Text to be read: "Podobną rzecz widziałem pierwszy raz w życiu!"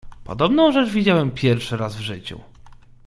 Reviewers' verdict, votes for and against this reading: accepted, 2, 0